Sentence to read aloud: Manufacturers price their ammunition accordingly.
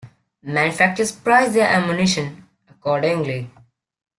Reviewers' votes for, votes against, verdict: 0, 2, rejected